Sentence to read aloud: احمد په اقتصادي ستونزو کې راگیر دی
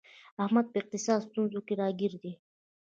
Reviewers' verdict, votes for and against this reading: accepted, 2, 0